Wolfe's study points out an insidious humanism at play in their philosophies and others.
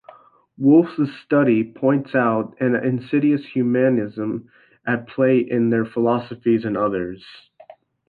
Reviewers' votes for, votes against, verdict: 2, 0, accepted